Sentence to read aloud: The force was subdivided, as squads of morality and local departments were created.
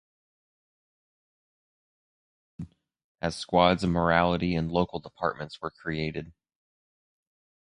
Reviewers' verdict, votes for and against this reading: rejected, 0, 4